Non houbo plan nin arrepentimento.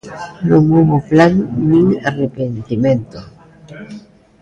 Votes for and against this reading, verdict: 2, 0, accepted